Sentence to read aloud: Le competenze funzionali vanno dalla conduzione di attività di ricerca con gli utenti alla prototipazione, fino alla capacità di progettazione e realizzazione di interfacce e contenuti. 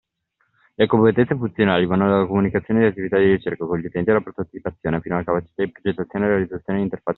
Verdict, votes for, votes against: rejected, 0, 2